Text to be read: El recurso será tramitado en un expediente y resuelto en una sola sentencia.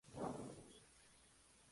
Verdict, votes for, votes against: rejected, 0, 2